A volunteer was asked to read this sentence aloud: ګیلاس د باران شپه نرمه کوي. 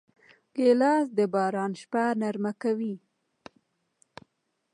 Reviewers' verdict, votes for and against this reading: accepted, 2, 0